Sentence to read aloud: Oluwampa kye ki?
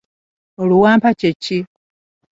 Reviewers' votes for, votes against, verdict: 2, 0, accepted